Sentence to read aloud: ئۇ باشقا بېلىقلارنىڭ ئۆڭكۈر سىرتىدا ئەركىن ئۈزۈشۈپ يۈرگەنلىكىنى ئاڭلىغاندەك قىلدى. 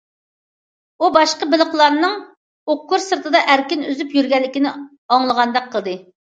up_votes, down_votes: 0, 2